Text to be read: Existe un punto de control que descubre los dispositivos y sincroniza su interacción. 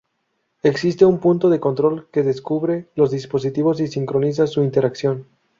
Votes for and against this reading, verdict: 0, 2, rejected